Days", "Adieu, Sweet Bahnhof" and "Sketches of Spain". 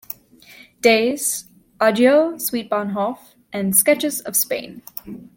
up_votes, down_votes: 1, 2